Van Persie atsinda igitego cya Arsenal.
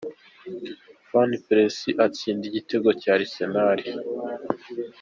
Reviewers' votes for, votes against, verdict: 2, 0, accepted